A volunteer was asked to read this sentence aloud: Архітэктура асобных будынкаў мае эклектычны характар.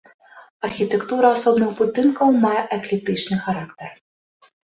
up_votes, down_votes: 0, 2